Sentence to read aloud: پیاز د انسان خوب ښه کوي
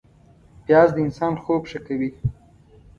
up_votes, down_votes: 2, 0